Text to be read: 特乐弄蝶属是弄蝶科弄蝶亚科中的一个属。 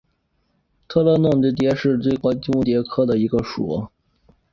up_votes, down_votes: 1, 4